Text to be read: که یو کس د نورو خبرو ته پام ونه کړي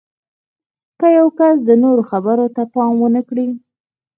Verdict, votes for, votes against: accepted, 4, 0